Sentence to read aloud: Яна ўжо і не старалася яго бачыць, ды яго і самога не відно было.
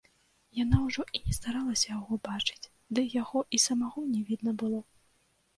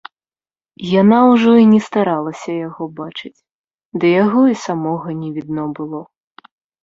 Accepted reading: second